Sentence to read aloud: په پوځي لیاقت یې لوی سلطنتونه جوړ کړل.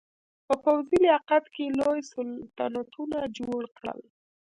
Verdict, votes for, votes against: rejected, 1, 2